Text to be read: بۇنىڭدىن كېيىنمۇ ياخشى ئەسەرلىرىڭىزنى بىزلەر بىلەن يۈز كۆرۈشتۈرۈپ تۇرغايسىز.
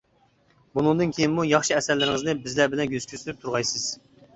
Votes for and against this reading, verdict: 1, 2, rejected